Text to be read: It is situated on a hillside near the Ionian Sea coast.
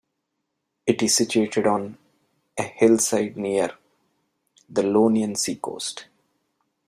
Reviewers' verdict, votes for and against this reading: rejected, 1, 2